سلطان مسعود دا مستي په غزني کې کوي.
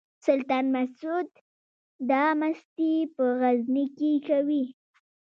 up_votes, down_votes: 0, 2